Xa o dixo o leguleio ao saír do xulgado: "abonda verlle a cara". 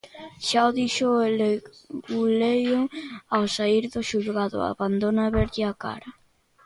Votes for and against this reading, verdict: 0, 2, rejected